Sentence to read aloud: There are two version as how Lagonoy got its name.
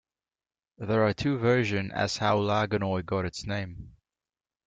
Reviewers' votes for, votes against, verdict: 1, 2, rejected